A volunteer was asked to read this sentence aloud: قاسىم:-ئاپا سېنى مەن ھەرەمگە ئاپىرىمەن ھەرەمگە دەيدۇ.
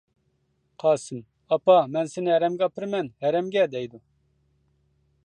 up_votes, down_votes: 0, 2